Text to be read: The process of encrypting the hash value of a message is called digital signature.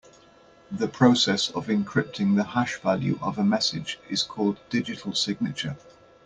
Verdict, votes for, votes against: accepted, 2, 0